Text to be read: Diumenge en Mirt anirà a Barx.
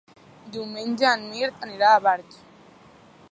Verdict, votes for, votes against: rejected, 1, 2